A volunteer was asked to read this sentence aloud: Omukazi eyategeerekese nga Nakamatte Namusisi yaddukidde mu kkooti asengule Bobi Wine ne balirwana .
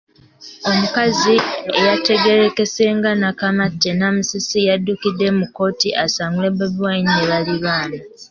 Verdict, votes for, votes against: rejected, 1, 2